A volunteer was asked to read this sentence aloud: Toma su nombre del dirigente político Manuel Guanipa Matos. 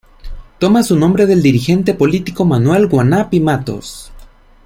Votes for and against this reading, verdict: 1, 2, rejected